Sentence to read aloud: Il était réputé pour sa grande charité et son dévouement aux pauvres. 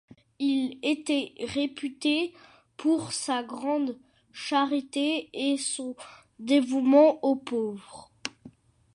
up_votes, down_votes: 2, 0